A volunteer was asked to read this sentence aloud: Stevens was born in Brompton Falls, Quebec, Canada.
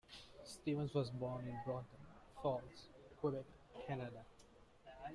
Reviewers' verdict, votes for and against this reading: rejected, 1, 2